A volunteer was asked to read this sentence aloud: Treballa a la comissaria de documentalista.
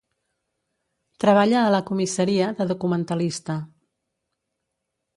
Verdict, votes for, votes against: accepted, 3, 0